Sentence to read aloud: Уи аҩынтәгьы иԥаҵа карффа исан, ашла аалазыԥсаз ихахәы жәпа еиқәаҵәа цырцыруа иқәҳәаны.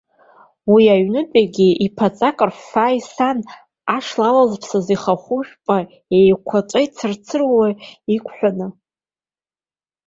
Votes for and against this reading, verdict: 1, 2, rejected